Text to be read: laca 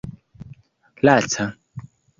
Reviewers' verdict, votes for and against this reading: accepted, 2, 0